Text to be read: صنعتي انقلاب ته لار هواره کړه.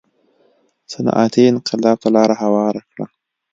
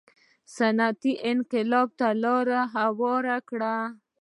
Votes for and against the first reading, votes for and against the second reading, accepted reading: 2, 0, 1, 2, first